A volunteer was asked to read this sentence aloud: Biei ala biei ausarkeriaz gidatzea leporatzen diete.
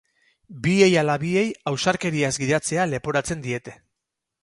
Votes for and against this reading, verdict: 2, 0, accepted